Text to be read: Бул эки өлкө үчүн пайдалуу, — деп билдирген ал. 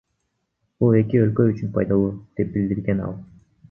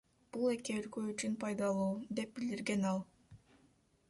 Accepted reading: first